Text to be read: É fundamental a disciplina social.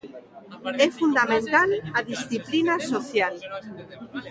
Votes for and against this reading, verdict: 1, 2, rejected